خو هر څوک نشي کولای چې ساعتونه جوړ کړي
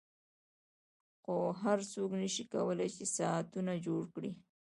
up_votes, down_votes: 2, 0